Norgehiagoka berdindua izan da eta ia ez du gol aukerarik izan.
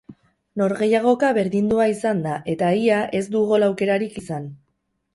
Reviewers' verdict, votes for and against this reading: rejected, 2, 2